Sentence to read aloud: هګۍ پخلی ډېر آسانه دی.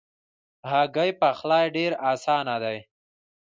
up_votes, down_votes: 0, 2